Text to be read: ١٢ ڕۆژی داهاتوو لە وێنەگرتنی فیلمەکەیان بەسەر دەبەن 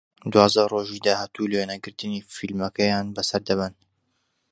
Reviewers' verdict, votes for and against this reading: rejected, 0, 2